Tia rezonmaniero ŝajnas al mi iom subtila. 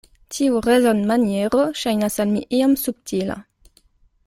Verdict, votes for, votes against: rejected, 1, 2